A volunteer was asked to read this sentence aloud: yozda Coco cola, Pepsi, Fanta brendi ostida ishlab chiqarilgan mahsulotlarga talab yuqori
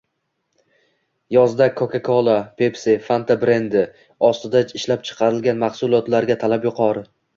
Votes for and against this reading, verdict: 2, 1, accepted